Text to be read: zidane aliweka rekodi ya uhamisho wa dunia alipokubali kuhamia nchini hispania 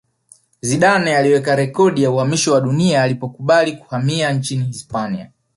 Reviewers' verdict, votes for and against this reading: accepted, 2, 0